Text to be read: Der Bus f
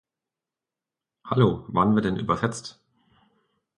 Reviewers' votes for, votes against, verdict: 0, 2, rejected